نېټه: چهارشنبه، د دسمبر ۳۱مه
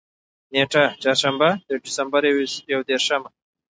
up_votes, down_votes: 0, 2